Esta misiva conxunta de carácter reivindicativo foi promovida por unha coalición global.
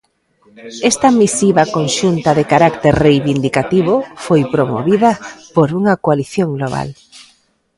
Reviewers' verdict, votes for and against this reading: accepted, 2, 0